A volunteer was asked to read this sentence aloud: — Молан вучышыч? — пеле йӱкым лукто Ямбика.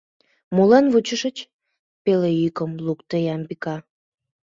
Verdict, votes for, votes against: accepted, 2, 0